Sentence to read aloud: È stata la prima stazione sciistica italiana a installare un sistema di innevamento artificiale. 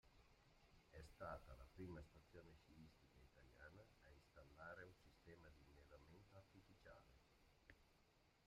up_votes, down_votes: 0, 2